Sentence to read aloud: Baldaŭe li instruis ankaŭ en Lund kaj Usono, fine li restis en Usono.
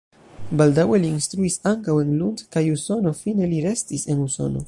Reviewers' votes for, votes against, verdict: 1, 2, rejected